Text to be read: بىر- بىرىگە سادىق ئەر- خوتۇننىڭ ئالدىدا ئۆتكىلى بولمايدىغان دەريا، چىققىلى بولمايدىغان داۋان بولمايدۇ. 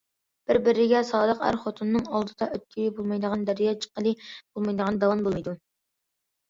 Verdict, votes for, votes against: accepted, 2, 0